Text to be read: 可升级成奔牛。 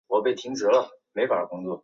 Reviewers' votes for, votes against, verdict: 0, 2, rejected